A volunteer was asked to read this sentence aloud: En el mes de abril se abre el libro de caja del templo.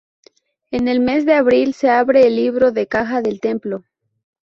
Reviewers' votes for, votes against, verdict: 2, 2, rejected